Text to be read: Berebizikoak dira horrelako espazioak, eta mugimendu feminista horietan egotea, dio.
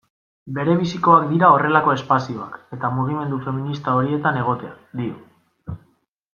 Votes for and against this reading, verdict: 2, 1, accepted